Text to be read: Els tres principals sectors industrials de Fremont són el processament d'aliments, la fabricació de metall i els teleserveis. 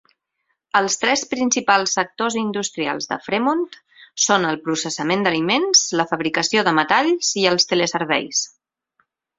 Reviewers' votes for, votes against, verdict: 2, 4, rejected